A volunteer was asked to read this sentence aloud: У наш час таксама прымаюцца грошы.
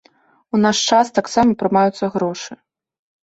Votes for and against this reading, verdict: 2, 0, accepted